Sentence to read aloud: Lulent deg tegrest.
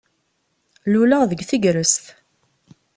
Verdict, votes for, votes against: rejected, 1, 2